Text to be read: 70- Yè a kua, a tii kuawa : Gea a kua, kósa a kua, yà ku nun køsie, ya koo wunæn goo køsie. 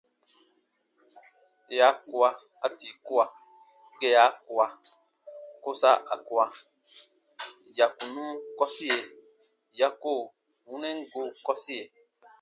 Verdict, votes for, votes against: rejected, 0, 2